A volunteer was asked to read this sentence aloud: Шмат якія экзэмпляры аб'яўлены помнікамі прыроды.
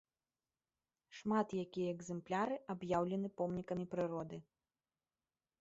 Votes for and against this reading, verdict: 2, 0, accepted